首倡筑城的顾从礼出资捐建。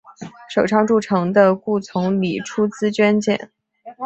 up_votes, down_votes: 3, 1